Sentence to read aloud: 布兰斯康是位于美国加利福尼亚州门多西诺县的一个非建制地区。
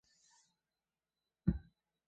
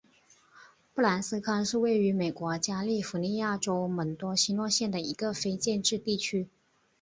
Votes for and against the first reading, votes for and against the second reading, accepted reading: 0, 3, 4, 0, second